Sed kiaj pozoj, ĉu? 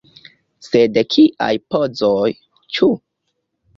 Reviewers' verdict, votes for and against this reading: accepted, 2, 0